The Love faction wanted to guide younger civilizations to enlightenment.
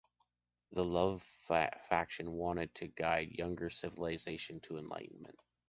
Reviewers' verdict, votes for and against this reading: rejected, 1, 3